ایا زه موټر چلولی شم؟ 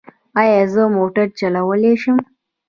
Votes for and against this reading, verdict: 2, 0, accepted